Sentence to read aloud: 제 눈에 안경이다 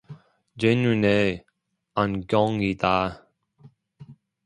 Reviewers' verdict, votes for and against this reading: rejected, 0, 2